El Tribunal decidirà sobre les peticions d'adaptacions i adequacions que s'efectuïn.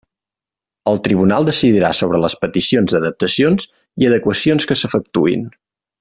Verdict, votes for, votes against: accepted, 3, 0